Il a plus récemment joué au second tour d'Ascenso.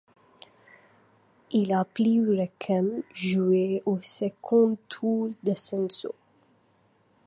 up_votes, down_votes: 0, 2